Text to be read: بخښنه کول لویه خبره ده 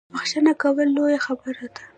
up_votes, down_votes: 1, 2